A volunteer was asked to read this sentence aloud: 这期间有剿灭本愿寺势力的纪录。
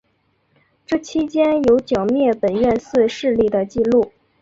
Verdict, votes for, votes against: accepted, 7, 0